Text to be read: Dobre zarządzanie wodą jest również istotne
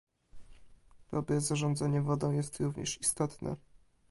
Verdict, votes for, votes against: accepted, 2, 0